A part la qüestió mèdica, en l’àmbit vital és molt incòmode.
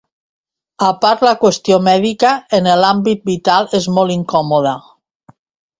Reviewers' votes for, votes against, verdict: 1, 2, rejected